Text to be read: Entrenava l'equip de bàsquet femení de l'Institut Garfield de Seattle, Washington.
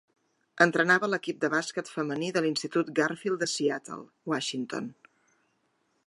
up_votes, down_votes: 3, 0